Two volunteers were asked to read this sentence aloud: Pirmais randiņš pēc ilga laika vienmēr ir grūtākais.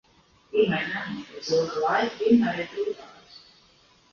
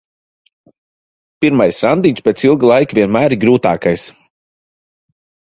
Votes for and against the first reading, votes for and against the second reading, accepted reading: 0, 3, 2, 0, second